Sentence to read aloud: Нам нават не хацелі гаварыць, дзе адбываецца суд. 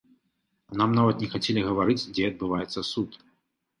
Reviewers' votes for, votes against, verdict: 2, 0, accepted